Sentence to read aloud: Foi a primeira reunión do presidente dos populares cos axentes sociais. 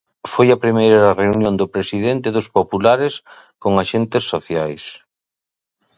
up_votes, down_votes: 0, 2